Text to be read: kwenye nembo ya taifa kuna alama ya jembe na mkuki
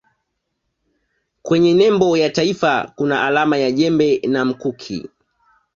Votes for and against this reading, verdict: 2, 0, accepted